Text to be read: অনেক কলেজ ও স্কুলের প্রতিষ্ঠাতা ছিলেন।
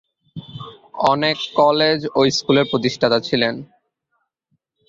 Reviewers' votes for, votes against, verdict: 2, 0, accepted